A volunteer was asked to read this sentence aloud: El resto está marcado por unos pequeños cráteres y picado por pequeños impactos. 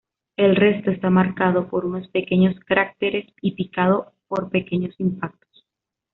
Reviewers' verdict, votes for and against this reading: accepted, 2, 1